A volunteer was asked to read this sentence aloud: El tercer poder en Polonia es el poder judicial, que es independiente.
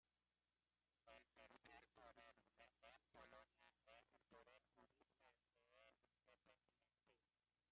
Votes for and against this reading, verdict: 0, 2, rejected